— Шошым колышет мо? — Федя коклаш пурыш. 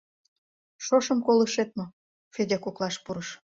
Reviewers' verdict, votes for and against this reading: accepted, 2, 0